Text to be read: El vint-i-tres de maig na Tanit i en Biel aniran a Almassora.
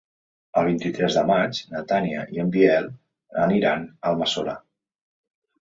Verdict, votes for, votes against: rejected, 1, 2